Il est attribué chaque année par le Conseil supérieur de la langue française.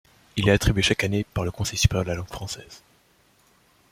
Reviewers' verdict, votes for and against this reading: accepted, 2, 0